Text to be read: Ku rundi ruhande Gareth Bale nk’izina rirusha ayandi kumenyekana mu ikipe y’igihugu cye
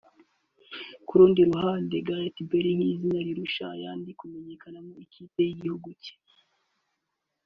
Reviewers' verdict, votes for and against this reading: rejected, 1, 2